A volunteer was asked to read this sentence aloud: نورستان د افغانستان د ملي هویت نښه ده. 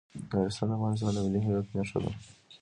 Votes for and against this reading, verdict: 1, 2, rejected